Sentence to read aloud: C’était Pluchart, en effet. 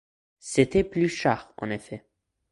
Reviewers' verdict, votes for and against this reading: accepted, 2, 0